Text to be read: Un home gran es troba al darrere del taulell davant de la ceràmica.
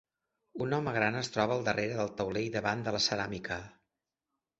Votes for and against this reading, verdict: 2, 0, accepted